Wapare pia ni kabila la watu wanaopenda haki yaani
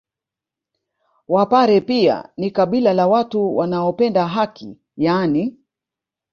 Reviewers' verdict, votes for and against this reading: rejected, 0, 2